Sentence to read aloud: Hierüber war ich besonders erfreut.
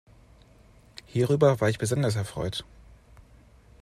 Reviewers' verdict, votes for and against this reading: accepted, 2, 0